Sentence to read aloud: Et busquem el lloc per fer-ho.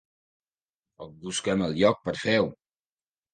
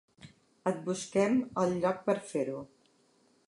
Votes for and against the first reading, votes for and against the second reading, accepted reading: 0, 2, 3, 0, second